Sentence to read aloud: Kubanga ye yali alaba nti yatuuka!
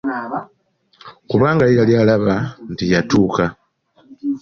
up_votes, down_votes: 2, 1